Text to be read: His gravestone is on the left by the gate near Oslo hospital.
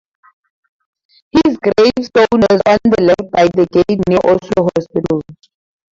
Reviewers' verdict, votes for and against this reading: accepted, 4, 2